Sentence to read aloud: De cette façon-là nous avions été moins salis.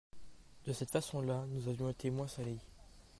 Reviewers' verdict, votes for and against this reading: accepted, 2, 0